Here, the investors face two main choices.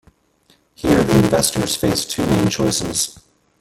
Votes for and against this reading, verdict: 0, 2, rejected